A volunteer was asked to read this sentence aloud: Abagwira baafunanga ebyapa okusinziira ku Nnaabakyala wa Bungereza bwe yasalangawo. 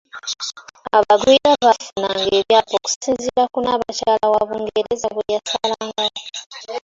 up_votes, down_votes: 2, 0